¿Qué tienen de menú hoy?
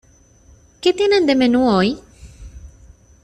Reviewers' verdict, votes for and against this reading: accepted, 2, 0